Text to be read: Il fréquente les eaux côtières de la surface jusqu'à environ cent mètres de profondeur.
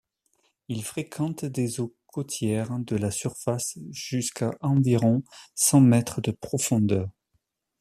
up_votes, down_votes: 0, 2